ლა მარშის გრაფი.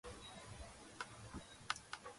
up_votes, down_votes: 0, 2